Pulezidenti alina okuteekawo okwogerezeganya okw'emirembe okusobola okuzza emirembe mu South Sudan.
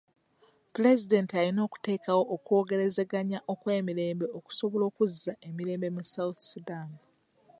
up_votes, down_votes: 2, 0